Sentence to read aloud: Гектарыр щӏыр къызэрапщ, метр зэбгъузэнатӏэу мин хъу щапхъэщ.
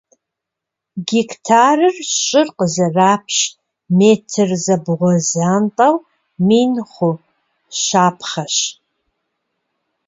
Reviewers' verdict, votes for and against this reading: rejected, 1, 2